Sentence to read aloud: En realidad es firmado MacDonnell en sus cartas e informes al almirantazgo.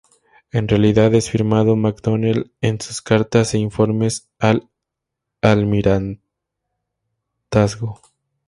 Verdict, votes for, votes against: rejected, 0, 2